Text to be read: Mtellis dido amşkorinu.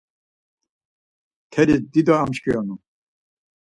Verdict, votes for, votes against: rejected, 2, 4